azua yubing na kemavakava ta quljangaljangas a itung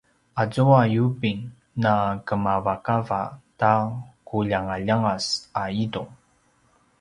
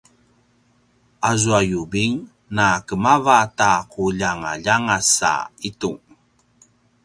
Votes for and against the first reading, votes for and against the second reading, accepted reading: 2, 0, 1, 3, first